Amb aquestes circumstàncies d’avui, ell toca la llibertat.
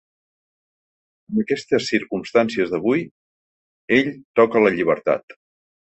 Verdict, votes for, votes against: rejected, 1, 2